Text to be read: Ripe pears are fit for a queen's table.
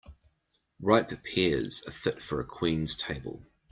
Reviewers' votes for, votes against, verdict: 2, 0, accepted